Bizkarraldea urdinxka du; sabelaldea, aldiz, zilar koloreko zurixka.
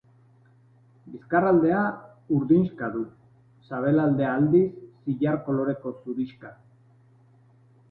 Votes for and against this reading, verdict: 2, 1, accepted